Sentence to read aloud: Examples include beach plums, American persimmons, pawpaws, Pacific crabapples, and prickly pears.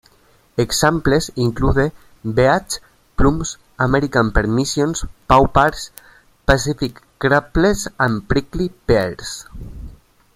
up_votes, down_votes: 0, 2